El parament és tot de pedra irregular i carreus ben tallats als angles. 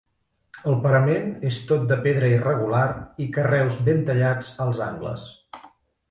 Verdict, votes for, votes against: accepted, 3, 0